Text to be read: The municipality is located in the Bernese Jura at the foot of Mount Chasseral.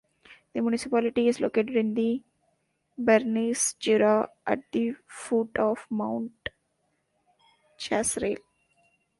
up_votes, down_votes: 1, 2